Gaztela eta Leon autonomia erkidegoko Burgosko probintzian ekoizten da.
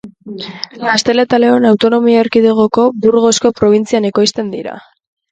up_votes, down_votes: 0, 2